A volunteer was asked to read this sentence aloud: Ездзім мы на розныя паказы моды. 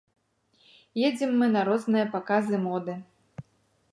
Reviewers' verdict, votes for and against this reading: accepted, 2, 0